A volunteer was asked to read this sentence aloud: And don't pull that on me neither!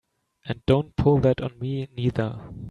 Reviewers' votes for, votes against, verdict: 3, 0, accepted